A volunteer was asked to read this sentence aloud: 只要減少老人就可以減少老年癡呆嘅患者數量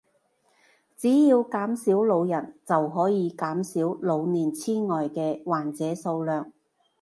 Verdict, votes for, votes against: accepted, 2, 0